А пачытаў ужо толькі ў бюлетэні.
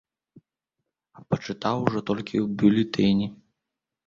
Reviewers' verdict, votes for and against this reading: rejected, 0, 2